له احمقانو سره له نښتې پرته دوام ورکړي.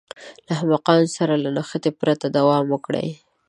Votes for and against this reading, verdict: 0, 2, rejected